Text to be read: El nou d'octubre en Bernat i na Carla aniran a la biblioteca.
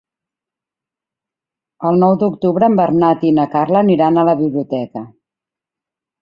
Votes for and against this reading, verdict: 4, 0, accepted